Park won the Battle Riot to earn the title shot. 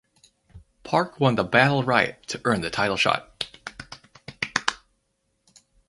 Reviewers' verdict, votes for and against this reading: rejected, 2, 2